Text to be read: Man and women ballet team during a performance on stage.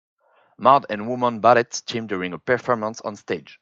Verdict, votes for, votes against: rejected, 2, 4